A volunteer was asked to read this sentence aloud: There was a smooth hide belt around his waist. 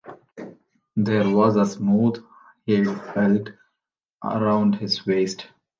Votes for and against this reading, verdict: 0, 2, rejected